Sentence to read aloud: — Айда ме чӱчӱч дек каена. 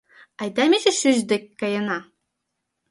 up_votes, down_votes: 1, 2